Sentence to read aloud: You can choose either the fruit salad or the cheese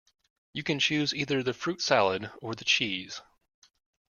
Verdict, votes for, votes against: accepted, 2, 0